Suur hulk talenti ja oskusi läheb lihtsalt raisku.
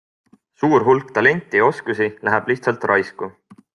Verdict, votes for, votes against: accepted, 2, 0